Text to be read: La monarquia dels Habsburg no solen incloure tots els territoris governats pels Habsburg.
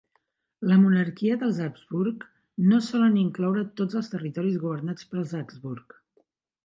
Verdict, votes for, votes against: accepted, 2, 1